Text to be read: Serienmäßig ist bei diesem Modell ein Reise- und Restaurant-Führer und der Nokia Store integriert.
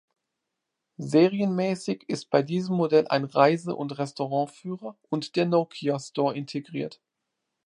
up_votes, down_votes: 2, 0